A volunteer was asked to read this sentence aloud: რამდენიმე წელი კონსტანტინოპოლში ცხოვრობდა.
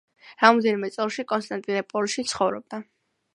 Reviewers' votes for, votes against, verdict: 2, 1, accepted